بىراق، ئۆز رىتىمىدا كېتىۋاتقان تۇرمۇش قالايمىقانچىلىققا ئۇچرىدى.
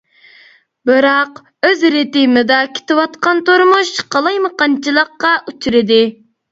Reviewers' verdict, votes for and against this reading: accepted, 2, 1